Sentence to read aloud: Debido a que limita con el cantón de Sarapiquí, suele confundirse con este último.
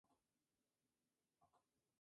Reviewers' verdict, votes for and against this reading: rejected, 0, 2